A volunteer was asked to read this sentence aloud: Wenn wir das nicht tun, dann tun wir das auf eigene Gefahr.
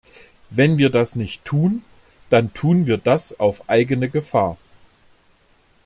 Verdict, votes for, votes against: accepted, 2, 0